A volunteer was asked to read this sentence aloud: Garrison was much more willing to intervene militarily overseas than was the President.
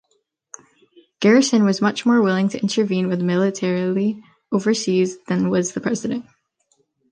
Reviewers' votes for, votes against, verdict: 0, 2, rejected